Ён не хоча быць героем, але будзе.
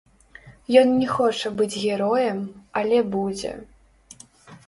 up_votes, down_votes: 0, 2